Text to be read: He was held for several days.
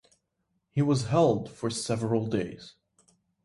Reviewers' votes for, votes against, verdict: 2, 0, accepted